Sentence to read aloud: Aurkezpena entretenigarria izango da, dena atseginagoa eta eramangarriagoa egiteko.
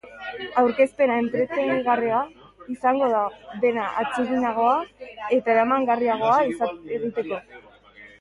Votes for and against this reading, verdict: 0, 3, rejected